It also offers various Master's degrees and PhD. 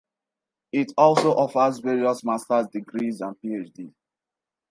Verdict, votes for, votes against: accepted, 2, 0